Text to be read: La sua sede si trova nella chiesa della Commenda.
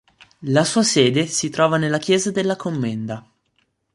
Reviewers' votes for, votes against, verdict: 3, 0, accepted